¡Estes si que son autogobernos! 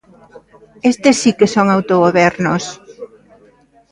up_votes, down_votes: 2, 0